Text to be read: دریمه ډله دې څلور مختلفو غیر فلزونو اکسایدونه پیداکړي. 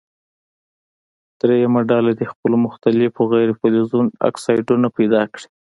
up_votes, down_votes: 2, 1